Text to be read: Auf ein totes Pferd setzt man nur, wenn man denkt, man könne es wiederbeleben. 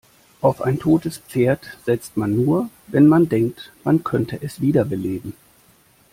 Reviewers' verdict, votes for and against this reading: rejected, 1, 2